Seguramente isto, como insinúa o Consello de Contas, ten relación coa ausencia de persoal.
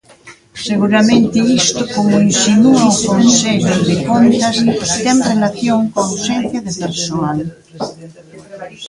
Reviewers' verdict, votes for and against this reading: rejected, 1, 2